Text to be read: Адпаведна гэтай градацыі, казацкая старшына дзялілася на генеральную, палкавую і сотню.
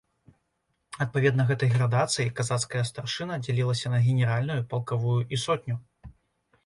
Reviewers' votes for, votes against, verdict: 2, 0, accepted